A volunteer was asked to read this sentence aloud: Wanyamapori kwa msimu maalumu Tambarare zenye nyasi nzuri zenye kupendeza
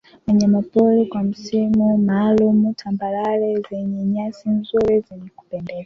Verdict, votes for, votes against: accepted, 2, 1